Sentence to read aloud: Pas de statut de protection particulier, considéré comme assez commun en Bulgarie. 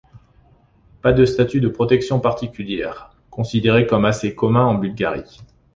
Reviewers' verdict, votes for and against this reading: accepted, 4, 3